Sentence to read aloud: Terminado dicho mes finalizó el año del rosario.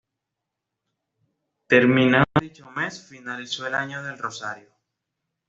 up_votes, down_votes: 2, 0